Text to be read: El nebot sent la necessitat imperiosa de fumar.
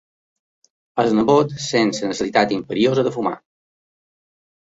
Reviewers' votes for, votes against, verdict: 1, 3, rejected